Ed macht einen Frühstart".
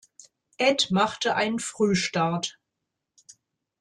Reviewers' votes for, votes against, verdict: 0, 2, rejected